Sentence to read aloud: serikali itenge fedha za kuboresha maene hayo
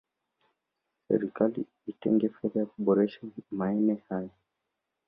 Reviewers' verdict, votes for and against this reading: rejected, 1, 2